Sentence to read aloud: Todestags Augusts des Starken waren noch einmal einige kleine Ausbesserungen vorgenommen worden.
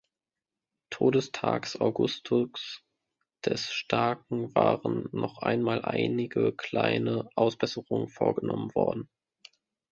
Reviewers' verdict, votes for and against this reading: rejected, 1, 2